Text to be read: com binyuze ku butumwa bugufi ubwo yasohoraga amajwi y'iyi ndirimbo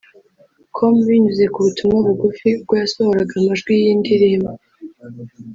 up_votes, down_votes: 2, 1